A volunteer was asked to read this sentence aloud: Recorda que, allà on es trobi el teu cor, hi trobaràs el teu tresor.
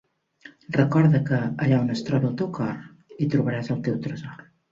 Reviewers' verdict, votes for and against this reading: rejected, 1, 2